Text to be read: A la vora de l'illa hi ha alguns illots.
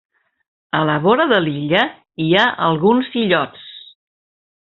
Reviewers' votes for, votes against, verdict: 2, 0, accepted